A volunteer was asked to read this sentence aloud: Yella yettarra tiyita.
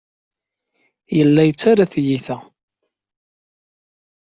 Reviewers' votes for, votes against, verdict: 2, 0, accepted